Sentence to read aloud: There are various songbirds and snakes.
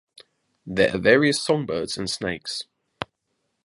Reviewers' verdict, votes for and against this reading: accepted, 2, 1